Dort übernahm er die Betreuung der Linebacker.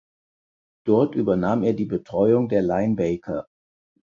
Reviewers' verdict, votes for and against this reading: rejected, 4, 6